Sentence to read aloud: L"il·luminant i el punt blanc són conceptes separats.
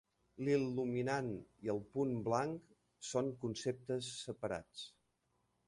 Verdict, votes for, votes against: accepted, 2, 0